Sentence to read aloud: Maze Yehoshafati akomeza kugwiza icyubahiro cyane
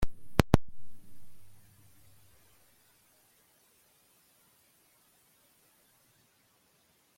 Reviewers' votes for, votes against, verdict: 1, 2, rejected